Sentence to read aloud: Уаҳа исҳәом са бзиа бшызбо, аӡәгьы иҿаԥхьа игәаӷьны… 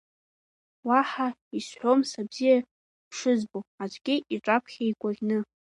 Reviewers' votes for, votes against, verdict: 2, 0, accepted